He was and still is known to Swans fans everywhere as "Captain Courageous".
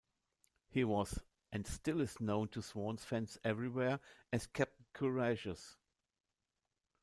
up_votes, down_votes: 2, 0